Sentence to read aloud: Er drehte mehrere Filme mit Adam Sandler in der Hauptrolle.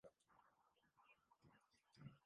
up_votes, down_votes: 0, 2